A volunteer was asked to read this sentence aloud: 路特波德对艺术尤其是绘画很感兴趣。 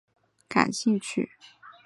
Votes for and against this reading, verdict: 0, 2, rejected